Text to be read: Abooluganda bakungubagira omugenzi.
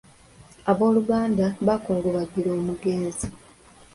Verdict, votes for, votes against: accepted, 3, 0